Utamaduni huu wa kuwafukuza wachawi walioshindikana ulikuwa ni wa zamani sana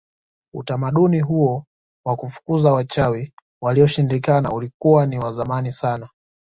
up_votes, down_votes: 1, 2